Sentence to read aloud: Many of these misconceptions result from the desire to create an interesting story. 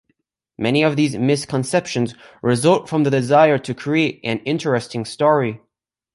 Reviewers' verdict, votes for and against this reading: accepted, 2, 0